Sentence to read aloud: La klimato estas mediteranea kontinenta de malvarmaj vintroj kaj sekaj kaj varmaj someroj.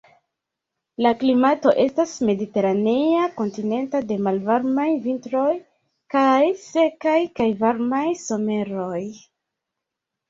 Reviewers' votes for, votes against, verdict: 0, 2, rejected